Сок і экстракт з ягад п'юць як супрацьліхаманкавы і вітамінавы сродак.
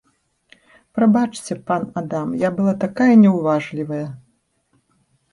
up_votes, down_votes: 0, 2